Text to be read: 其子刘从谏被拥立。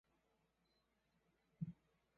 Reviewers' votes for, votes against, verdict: 1, 5, rejected